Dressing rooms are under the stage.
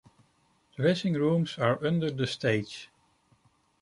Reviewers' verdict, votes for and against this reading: accepted, 2, 1